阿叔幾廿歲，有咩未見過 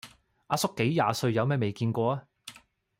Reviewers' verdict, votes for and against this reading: rejected, 1, 2